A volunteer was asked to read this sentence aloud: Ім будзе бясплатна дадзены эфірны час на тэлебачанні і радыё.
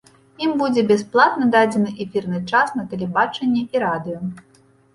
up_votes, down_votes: 2, 0